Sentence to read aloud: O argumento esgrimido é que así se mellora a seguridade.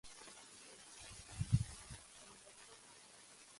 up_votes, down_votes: 0, 2